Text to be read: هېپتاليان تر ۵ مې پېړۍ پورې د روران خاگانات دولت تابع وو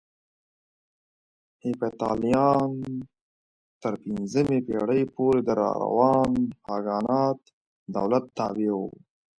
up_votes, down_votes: 0, 2